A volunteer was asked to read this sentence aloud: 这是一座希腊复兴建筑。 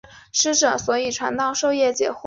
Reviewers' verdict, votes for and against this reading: accepted, 3, 1